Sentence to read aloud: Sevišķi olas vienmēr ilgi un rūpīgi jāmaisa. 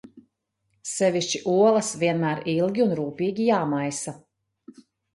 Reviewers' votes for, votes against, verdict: 2, 0, accepted